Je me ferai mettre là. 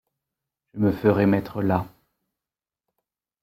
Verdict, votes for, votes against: rejected, 1, 2